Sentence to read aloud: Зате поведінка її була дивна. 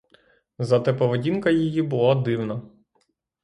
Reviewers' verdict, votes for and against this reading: accepted, 6, 0